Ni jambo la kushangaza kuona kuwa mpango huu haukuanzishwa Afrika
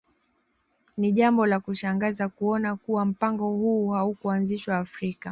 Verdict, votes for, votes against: accepted, 2, 0